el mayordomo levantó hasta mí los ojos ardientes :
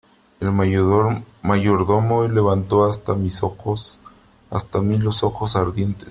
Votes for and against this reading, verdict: 1, 2, rejected